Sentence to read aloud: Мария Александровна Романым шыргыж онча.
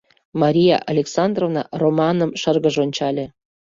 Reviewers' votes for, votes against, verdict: 0, 2, rejected